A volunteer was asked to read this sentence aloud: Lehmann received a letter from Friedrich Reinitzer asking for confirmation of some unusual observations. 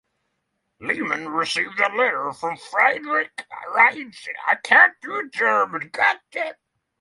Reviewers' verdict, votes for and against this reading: rejected, 0, 6